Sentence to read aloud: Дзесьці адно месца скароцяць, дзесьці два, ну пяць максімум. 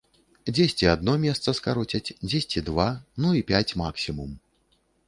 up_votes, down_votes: 1, 2